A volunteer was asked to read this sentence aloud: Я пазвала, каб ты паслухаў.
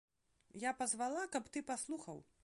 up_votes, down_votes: 1, 2